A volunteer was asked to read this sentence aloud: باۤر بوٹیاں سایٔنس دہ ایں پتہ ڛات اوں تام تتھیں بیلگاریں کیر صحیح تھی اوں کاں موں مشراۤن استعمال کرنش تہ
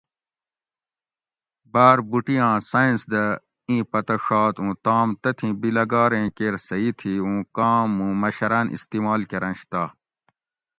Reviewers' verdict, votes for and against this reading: accepted, 2, 0